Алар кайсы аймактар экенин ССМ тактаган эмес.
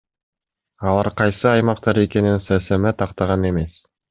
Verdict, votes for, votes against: rejected, 0, 2